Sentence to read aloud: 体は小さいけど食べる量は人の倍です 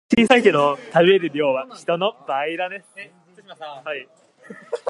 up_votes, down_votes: 1, 3